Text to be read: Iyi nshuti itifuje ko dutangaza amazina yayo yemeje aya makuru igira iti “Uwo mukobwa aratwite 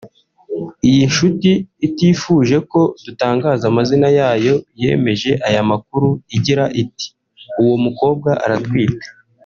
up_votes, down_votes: 1, 2